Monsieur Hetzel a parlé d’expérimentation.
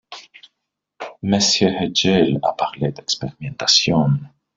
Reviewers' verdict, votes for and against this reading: rejected, 1, 2